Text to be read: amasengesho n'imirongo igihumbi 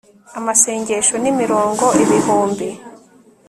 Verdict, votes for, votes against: rejected, 1, 2